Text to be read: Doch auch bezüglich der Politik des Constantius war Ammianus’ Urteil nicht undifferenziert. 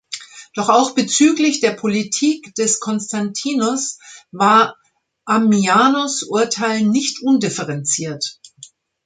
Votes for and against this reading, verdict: 0, 2, rejected